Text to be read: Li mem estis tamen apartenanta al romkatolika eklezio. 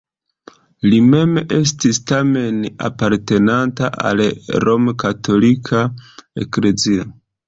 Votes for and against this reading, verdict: 2, 0, accepted